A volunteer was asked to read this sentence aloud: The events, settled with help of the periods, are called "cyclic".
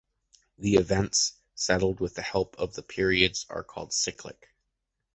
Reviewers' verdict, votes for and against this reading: rejected, 0, 2